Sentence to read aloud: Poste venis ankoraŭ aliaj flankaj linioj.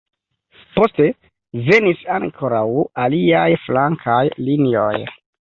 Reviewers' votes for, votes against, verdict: 1, 2, rejected